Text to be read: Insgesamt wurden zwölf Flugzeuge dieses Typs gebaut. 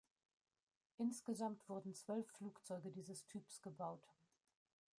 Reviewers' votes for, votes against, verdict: 2, 1, accepted